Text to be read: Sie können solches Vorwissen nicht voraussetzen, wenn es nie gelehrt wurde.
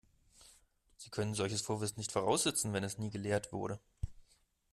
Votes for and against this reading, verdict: 2, 0, accepted